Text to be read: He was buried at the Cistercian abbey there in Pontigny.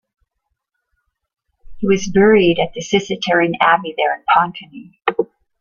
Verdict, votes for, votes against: rejected, 0, 2